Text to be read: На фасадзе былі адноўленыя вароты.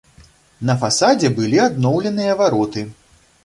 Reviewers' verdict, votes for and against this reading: accepted, 2, 0